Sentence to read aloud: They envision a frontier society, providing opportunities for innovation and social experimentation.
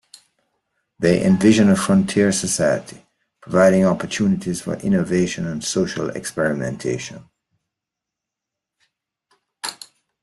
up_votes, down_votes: 2, 0